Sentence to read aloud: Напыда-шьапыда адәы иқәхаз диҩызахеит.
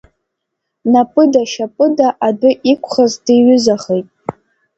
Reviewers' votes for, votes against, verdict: 2, 0, accepted